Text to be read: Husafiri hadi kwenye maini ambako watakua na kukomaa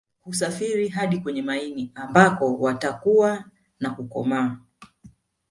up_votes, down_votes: 2, 0